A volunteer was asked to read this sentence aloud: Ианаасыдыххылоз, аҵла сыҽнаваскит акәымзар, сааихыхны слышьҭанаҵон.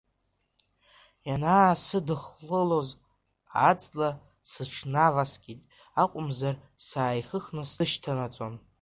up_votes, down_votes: 2, 1